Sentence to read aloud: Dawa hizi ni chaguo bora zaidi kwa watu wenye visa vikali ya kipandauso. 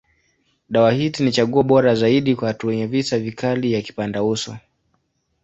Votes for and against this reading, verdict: 2, 0, accepted